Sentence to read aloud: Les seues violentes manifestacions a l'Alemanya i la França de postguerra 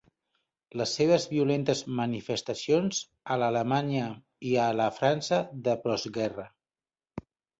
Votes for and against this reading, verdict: 1, 2, rejected